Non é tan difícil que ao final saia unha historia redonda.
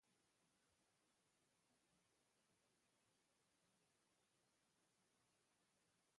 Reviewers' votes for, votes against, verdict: 0, 2, rejected